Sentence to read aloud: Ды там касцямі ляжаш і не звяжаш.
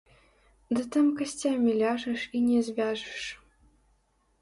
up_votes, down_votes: 0, 3